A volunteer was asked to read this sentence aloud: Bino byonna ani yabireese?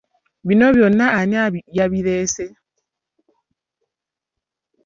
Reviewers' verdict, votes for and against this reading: rejected, 0, 2